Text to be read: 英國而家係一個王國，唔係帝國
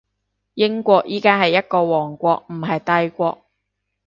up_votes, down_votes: 1, 2